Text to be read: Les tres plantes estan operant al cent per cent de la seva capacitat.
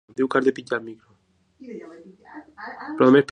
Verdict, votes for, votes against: rejected, 0, 2